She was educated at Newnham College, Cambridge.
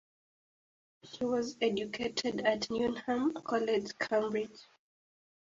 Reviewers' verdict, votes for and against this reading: accepted, 4, 0